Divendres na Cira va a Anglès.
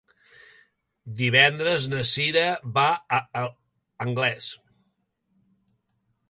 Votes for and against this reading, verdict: 1, 2, rejected